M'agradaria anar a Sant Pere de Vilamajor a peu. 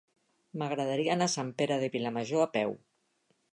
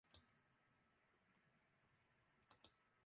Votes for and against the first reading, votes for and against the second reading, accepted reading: 3, 0, 0, 2, first